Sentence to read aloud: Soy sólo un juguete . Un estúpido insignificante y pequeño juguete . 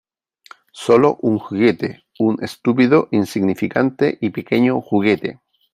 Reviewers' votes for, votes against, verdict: 0, 3, rejected